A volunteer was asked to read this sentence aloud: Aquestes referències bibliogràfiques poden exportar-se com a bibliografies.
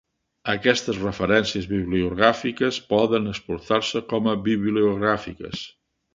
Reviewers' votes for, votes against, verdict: 1, 3, rejected